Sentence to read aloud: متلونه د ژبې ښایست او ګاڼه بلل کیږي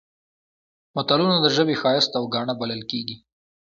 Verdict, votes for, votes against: accepted, 2, 0